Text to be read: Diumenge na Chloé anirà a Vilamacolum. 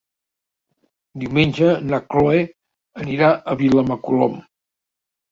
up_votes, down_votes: 1, 2